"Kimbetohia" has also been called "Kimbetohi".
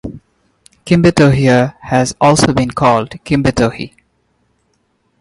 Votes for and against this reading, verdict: 2, 0, accepted